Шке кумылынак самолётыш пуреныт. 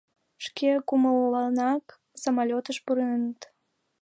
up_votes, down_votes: 2, 3